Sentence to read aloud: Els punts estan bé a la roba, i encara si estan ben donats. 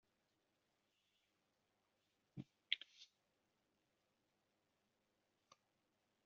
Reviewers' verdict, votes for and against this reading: rejected, 0, 2